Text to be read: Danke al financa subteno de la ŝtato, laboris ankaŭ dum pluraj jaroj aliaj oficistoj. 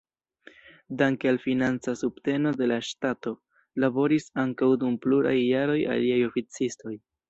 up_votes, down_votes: 2, 0